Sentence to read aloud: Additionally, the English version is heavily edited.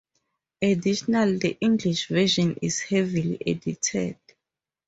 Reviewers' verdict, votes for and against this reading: rejected, 0, 4